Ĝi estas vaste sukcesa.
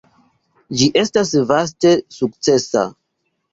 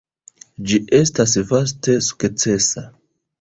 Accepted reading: first